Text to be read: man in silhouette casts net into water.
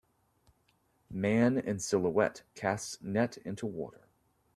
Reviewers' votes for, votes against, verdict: 2, 0, accepted